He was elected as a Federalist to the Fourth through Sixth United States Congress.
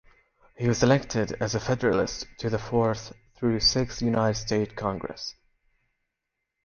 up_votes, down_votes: 1, 2